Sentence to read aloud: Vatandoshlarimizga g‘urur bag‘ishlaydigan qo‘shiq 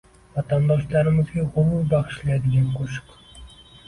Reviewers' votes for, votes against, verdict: 1, 2, rejected